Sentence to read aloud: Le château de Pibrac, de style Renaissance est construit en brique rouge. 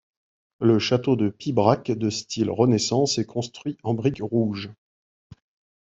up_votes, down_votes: 2, 0